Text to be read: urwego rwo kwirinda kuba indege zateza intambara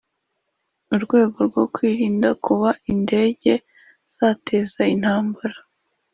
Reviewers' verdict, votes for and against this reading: accepted, 2, 0